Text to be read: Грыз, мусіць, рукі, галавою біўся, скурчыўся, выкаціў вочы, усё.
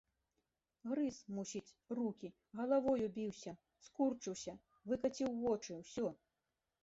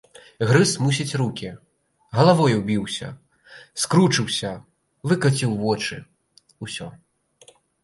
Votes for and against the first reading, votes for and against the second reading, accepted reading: 2, 0, 1, 2, first